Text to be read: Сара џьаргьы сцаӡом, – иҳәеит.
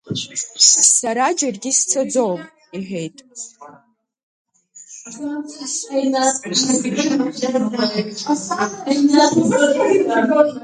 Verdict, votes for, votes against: rejected, 0, 4